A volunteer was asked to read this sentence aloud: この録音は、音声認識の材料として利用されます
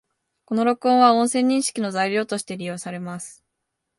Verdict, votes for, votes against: accepted, 2, 0